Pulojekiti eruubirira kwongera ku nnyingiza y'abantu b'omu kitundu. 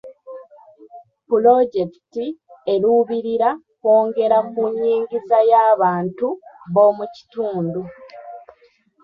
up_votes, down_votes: 1, 2